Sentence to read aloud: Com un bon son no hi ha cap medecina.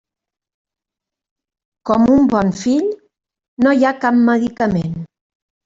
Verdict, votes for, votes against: rejected, 0, 2